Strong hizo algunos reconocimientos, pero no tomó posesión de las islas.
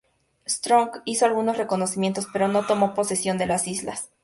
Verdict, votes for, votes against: accepted, 2, 0